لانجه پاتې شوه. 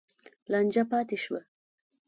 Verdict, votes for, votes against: accepted, 2, 0